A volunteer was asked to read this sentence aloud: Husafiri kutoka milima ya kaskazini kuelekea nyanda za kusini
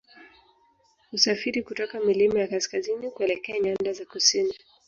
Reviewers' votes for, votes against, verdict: 6, 3, accepted